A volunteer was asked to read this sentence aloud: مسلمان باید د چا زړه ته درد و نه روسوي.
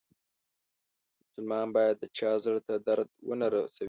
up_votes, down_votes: 1, 2